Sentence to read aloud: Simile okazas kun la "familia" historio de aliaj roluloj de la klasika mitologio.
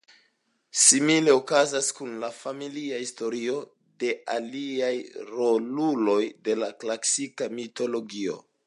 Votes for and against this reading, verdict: 2, 0, accepted